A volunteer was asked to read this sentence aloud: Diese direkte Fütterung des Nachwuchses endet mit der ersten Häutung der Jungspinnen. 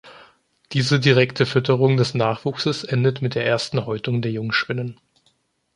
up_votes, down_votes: 2, 0